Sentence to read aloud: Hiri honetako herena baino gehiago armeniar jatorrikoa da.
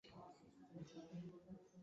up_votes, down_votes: 0, 2